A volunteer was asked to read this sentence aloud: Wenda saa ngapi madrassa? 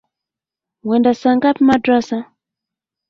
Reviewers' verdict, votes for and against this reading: accepted, 2, 1